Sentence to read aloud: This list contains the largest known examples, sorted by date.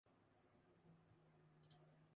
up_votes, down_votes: 0, 2